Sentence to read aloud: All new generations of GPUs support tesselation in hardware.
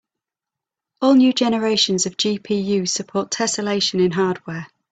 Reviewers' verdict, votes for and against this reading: accepted, 3, 0